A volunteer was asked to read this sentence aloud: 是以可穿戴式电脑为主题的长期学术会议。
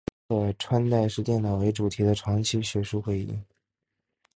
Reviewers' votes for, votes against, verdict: 1, 3, rejected